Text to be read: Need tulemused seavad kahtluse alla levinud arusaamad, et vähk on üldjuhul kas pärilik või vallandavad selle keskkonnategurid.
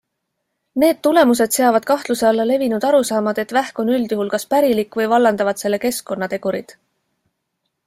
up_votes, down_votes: 2, 0